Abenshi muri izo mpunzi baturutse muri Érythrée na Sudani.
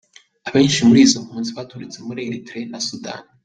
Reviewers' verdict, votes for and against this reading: accepted, 2, 0